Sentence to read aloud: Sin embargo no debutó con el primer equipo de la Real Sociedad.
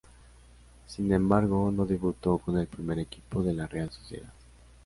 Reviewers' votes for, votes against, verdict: 2, 0, accepted